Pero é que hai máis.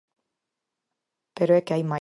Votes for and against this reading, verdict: 2, 4, rejected